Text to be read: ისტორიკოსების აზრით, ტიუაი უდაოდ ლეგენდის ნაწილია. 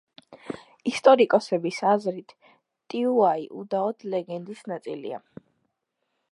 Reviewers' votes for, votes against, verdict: 2, 0, accepted